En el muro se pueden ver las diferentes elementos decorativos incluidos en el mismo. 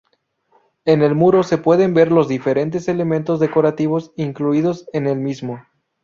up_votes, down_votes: 2, 2